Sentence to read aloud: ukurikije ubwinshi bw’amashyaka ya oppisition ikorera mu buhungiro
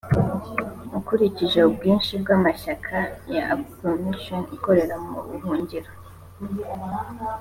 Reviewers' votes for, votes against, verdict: 2, 0, accepted